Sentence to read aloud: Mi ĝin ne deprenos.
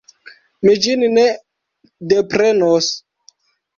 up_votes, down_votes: 1, 2